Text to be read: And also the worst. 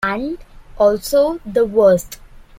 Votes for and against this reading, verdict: 2, 0, accepted